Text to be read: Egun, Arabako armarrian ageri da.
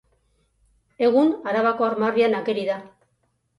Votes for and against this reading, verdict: 2, 0, accepted